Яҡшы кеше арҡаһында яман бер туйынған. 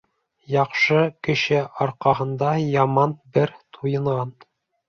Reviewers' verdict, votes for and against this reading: accepted, 3, 0